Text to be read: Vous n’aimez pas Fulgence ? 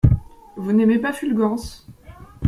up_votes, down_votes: 0, 2